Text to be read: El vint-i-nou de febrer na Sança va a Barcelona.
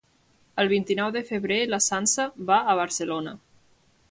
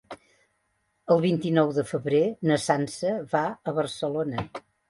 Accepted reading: second